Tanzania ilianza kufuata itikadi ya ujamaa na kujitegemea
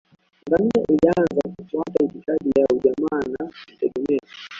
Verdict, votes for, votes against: rejected, 1, 2